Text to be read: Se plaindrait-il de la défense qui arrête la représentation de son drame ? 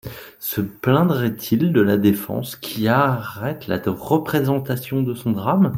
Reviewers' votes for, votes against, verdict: 2, 0, accepted